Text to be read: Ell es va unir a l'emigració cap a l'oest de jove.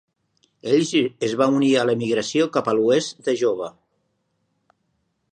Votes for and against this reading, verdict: 0, 2, rejected